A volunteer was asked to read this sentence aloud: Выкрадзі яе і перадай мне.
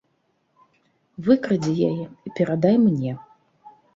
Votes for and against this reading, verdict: 2, 0, accepted